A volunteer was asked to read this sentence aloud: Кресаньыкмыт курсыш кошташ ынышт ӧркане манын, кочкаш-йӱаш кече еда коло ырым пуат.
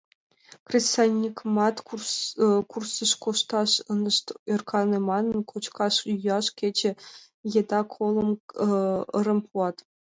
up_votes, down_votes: 1, 2